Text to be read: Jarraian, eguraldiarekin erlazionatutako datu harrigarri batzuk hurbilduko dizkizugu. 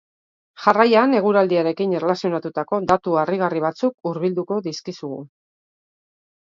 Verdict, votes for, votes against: accepted, 2, 1